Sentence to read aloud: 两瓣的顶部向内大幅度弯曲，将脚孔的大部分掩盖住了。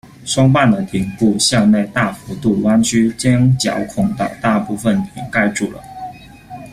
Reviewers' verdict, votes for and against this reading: rejected, 0, 2